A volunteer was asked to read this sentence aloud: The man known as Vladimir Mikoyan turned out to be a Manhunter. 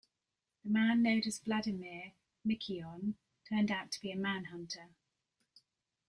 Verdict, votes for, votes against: accepted, 2, 1